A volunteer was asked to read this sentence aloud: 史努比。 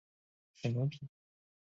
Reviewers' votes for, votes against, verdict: 1, 3, rejected